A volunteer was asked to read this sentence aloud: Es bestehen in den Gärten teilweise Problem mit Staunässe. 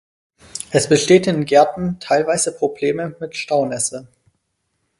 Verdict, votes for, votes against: rejected, 2, 4